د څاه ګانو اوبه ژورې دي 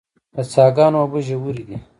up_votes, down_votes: 1, 2